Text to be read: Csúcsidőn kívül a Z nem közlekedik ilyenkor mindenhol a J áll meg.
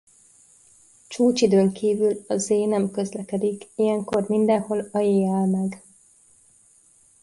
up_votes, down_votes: 2, 0